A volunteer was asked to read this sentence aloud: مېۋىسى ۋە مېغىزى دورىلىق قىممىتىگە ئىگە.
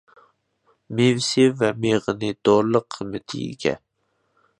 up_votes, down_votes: 2, 1